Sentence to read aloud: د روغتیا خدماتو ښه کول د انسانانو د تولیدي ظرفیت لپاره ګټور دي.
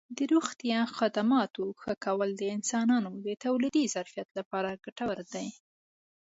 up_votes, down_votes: 2, 0